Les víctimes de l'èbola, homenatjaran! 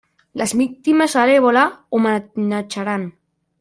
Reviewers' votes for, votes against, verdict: 1, 2, rejected